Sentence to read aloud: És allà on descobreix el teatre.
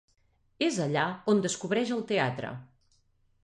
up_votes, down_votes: 2, 0